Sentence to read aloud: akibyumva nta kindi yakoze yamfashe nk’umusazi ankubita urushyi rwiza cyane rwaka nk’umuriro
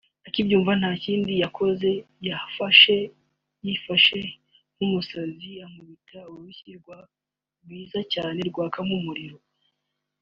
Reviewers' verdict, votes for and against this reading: rejected, 0, 2